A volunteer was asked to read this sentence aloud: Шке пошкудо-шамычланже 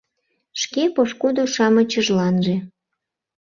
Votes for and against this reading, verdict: 0, 2, rejected